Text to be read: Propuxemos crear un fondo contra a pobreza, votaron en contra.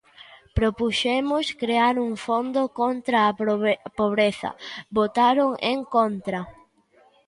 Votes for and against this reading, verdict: 0, 2, rejected